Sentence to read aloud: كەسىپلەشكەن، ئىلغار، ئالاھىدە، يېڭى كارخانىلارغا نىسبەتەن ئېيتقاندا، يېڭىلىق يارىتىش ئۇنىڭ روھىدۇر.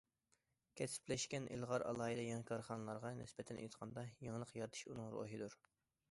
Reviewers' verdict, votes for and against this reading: accepted, 2, 0